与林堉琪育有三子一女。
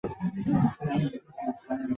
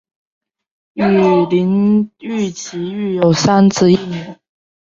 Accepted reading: second